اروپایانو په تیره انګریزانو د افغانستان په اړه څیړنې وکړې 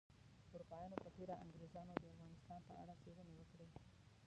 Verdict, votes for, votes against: rejected, 0, 2